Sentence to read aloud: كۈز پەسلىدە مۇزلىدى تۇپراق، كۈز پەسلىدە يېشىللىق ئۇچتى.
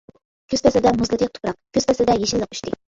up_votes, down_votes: 0, 2